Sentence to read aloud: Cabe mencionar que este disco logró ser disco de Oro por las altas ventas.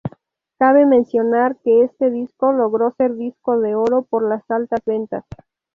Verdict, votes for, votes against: accepted, 4, 0